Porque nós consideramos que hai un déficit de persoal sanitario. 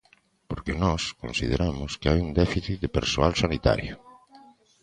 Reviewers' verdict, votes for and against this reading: accepted, 2, 0